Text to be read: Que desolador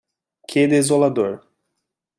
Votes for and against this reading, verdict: 2, 0, accepted